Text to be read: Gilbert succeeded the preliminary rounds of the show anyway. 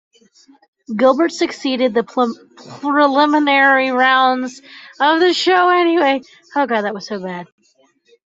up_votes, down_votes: 1, 2